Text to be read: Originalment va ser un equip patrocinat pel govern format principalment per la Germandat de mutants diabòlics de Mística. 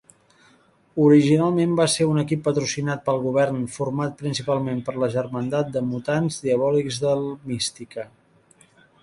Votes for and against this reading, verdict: 1, 2, rejected